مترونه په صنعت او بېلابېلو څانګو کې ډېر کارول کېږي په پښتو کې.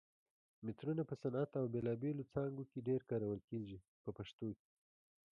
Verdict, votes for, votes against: accepted, 2, 0